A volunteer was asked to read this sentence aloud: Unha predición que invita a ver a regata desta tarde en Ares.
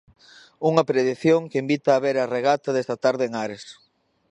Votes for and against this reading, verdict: 1, 2, rejected